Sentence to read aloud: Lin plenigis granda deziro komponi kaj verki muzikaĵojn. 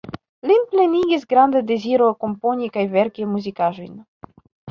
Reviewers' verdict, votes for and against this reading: accepted, 2, 0